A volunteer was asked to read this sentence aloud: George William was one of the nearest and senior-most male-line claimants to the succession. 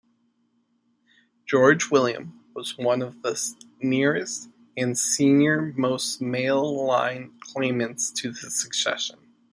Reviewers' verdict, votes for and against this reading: rejected, 1, 2